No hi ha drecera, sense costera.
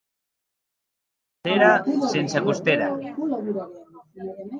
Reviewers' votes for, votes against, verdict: 0, 2, rejected